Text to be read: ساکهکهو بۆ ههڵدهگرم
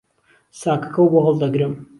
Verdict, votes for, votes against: accepted, 2, 0